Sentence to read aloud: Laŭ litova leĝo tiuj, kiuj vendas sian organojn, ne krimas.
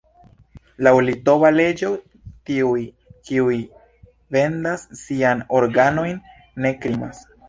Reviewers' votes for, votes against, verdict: 2, 0, accepted